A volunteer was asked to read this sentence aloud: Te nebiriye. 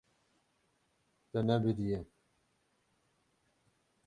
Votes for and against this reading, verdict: 6, 6, rejected